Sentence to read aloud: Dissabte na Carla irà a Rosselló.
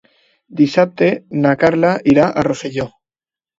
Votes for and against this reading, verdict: 2, 0, accepted